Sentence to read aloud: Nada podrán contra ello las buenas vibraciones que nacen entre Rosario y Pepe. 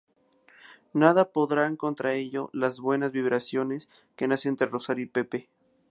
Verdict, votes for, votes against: accepted, 2, 0